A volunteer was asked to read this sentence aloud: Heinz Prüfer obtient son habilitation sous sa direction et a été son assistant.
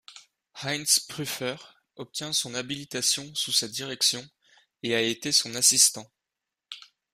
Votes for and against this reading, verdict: 2, 0, accepted